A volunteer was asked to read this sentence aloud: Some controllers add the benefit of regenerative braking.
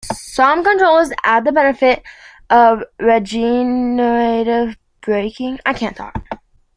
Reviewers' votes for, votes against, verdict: 0, 2, rejected